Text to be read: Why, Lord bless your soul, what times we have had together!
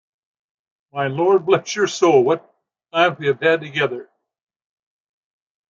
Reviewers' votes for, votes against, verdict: 0, 2, rejected